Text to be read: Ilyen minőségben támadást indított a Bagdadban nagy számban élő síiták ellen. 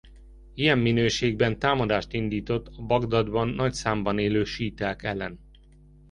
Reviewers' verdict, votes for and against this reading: accepted, 3, 0